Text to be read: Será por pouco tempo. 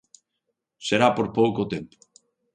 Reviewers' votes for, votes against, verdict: 2, 0, accepted